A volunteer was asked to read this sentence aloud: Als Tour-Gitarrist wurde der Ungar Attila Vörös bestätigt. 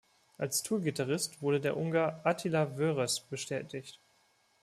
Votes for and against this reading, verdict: 2, 0, accepted